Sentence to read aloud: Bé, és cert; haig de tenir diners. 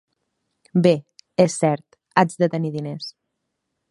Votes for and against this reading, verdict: 4, 0, accepted